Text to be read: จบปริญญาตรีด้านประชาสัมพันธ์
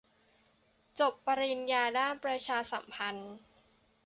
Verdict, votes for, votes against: rejected, 0, 2